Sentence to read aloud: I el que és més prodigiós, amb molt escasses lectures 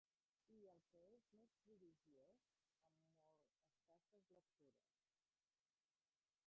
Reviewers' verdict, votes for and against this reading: rejected, 0, 2